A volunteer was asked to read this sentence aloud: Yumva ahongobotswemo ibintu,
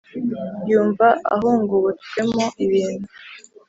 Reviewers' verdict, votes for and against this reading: accepted, 2, 0